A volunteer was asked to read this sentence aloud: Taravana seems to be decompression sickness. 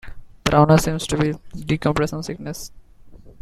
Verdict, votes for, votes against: accepted, 2, 0